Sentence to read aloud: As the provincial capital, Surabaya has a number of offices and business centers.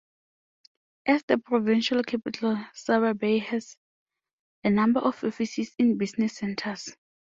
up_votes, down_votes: 2, 0